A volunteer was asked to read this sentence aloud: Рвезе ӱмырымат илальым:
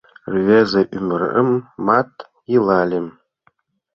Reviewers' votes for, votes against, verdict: 0, 3, rejected